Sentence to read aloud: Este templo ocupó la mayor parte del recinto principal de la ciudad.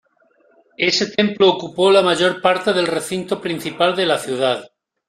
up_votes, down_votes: 1, 2